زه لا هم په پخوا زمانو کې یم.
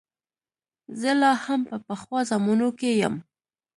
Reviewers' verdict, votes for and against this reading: accepted, 2, 0